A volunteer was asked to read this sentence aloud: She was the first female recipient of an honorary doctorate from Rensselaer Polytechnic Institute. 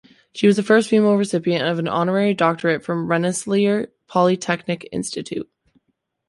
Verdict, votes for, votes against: rejected, 0, 2